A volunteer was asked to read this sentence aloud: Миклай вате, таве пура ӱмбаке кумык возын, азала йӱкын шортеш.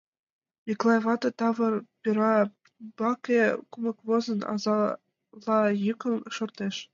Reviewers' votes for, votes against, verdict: 2, 0, accepted